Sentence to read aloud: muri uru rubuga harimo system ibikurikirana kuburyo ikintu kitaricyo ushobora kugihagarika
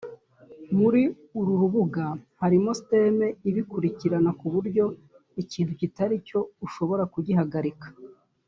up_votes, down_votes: 1, 2